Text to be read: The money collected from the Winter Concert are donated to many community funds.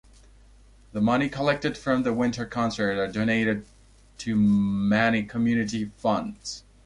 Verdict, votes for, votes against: accepted, 2, 0